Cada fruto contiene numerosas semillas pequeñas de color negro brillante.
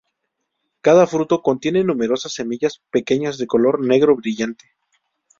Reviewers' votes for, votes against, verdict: 2, 0, accepted